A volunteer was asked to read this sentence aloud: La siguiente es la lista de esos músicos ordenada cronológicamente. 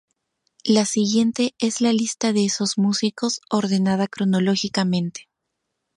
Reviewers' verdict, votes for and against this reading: rejected, 0, 2